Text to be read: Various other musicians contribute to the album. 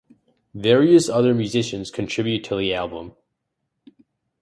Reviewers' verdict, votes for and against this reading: accepted, 2, 0